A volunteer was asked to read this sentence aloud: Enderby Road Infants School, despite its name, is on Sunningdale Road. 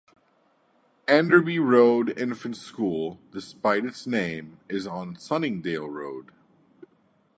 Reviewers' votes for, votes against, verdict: 2, 0, accepted